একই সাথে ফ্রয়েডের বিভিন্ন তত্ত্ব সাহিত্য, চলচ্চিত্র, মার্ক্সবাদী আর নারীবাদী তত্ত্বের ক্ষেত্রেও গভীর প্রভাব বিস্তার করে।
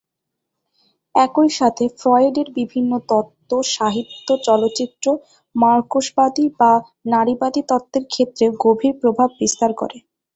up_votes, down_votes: 0, 2